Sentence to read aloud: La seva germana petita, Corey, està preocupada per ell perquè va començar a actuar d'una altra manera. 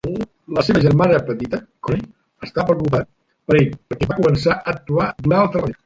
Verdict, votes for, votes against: rejected, 1, 3